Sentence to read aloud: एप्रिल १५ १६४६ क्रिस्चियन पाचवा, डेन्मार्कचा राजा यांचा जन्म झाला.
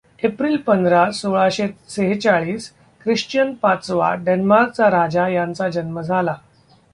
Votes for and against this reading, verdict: 0, 2, rejected